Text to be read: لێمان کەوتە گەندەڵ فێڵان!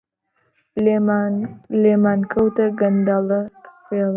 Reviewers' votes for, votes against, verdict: 0, 2, rejected